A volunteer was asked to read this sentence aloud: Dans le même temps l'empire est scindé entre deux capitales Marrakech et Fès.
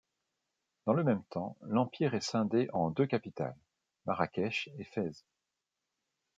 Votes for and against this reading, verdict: 2, 1, accepted